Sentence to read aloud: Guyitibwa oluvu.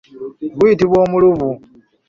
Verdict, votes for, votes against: rejected, 0, 2